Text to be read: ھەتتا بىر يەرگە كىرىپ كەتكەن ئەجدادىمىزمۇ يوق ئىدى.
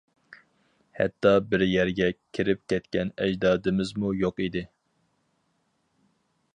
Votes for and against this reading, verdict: 4, 0, accepted